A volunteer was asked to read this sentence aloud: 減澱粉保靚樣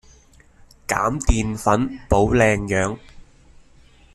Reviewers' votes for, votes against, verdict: 2, 0, accepted